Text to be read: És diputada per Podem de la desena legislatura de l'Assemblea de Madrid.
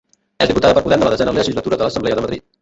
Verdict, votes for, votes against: rejected, 0, 2